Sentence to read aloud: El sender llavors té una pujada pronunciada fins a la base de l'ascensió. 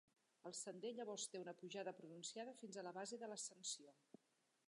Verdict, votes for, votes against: rejected, 0, 2